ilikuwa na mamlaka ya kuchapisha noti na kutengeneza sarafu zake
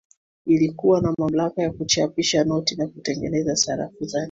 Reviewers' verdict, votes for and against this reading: accepted, 2, 0